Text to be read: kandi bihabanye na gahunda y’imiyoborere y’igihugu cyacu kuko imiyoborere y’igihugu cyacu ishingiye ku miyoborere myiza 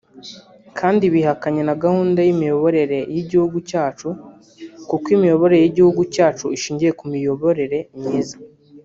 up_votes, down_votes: 0, 2